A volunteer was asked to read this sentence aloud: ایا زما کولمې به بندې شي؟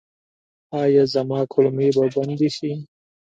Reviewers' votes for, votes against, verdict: 2, 0, accepted